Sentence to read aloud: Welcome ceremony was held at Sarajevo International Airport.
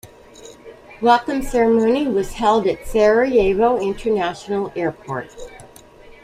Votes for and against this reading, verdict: 2, 0, accepted